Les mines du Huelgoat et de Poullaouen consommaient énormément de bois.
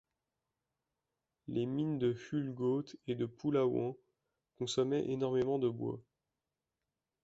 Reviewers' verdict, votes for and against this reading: rejected, 0, 2